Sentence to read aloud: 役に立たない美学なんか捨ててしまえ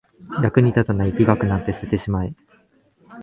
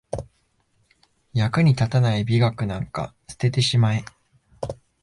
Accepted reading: second